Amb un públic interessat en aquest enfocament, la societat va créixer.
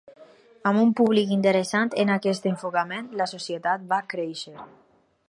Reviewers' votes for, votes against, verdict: 0, 4, rejected